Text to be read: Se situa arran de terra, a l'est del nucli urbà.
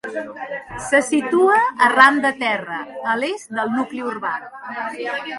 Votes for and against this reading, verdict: 2, 1, accepted